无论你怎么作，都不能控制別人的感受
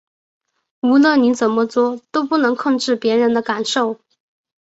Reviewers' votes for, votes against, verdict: 2, 0, accepted